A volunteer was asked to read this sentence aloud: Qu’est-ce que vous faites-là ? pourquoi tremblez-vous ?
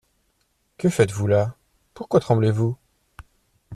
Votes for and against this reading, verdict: 0, 2, rejected